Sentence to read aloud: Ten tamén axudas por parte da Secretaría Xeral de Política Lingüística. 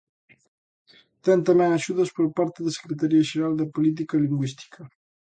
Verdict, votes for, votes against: accepted, 2, 0